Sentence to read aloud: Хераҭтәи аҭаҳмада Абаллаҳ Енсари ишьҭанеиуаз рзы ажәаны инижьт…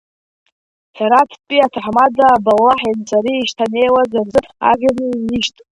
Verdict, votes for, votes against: rejected, 0, 2